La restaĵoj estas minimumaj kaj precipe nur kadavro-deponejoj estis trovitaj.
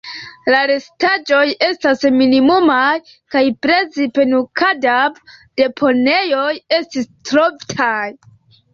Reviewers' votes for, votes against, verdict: 1, 3, rejected